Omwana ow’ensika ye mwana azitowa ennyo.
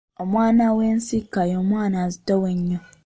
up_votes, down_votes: 2, 1